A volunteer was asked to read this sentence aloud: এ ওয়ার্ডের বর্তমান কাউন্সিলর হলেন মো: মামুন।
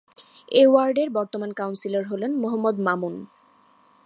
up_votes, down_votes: 2, 0